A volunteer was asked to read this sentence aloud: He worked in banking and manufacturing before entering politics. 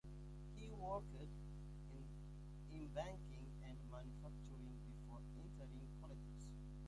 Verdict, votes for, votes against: rejected, 0, 2